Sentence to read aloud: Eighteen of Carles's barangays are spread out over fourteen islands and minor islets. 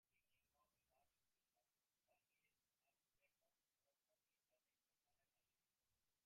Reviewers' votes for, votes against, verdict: 0, 2, rejected